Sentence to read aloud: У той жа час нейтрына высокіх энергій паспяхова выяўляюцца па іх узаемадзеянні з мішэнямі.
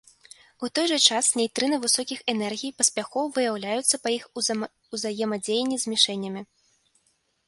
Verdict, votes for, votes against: rejected, 0, 2